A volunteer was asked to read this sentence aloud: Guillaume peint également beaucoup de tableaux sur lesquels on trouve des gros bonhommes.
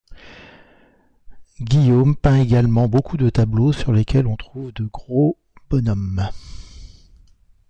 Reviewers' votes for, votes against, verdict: 1, 2, rejected